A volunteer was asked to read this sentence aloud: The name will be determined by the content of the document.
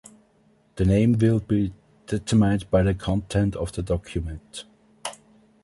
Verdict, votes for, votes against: rejected, 0, 2